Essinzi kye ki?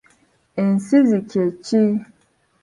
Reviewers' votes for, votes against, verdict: 0, 2, rejected